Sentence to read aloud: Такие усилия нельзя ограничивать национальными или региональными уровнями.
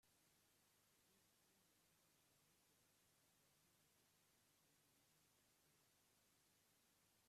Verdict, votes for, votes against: rejected, 0, 2